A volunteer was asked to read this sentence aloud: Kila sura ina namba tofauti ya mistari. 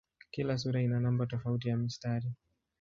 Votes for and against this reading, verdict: 7, 2, accepted